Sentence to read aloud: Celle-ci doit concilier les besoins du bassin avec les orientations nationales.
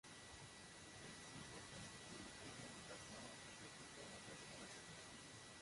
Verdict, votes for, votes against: rejected, 0, 2